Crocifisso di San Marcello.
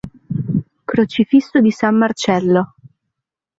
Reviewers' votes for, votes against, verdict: 2, 0, accepted